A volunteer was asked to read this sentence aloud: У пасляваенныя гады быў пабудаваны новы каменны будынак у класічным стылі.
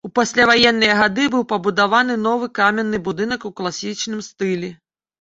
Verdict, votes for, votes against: rejected, 1, 2